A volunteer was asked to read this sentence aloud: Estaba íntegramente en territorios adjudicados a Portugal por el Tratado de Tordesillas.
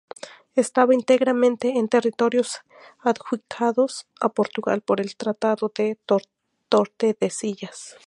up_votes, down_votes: 2, 0